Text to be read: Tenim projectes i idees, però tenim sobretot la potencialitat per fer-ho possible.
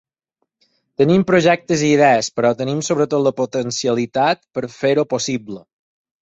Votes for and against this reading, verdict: 6, 0, accepted